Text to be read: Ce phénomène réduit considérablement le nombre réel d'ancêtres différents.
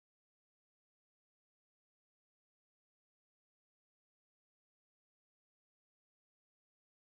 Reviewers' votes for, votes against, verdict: 0, 2, rejected